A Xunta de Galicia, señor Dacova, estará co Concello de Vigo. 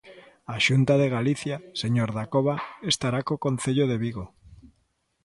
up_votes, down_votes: 2, 0